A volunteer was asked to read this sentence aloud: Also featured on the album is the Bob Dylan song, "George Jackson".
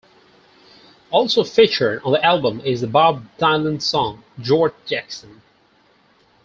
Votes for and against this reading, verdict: 0, 4, rejected